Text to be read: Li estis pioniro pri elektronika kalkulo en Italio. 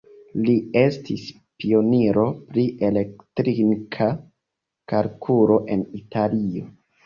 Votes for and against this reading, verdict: 1, 3, rejected